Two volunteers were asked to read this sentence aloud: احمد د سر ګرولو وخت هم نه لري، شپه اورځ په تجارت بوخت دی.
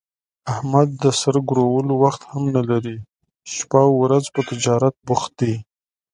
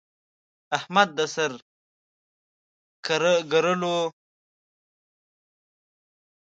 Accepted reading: first